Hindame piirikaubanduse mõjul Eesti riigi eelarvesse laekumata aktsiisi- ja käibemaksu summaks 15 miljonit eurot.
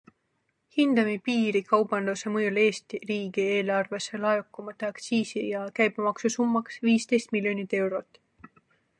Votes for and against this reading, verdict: 0, 2, rejected